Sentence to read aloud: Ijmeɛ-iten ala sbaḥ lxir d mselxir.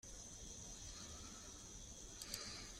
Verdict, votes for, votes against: rejected, 0, 3